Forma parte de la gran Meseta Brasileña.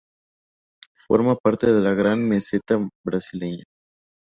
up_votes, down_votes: 2, 0